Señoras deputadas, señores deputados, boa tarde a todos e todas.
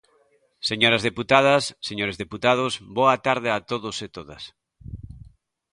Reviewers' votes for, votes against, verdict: 2, 0, accepted